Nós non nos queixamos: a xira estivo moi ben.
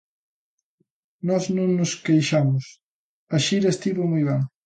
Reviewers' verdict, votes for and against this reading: accepted, 2, 0